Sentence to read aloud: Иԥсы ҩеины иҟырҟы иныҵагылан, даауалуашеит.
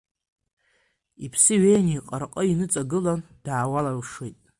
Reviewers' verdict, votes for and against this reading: accepted, 2, 0